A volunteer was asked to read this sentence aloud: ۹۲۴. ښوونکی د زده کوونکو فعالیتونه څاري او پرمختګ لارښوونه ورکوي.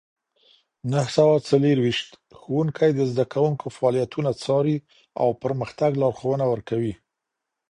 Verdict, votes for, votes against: rejected, 0, 2